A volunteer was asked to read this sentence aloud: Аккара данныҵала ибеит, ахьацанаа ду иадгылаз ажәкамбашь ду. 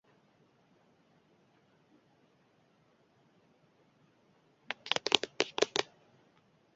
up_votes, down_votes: 0, 2